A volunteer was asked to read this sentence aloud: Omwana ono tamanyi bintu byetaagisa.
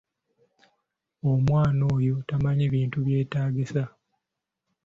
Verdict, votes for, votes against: accepted, 2, 0